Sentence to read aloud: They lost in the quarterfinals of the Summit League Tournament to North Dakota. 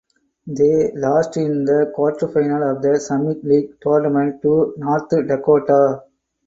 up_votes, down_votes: 4, 2